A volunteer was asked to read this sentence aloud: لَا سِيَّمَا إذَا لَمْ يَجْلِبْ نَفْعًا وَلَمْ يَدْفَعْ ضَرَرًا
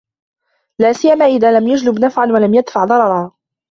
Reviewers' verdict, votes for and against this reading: accepted, 2, 1